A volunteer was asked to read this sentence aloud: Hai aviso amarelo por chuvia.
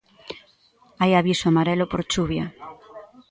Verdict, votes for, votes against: accepted, 2, 1